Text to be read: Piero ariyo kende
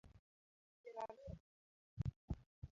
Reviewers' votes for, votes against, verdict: 0, 2, rejected